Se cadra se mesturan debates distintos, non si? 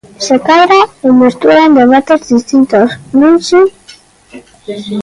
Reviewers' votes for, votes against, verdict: 0, 2, rejected